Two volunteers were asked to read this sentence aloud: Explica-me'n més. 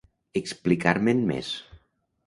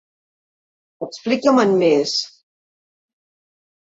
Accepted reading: second